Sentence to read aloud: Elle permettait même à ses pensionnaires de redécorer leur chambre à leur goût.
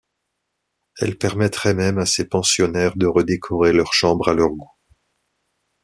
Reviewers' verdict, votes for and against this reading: rejected, 1, 2